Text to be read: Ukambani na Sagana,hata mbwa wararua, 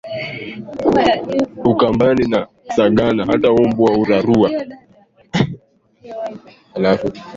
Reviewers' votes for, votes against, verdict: 1, 2, rejected